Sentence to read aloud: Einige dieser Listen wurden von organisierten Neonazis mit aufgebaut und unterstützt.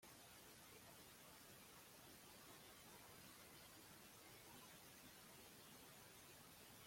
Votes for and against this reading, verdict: 0, 2, rejected